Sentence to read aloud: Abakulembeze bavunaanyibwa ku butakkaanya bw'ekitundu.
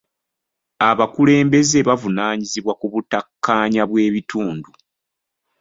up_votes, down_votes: 1, 2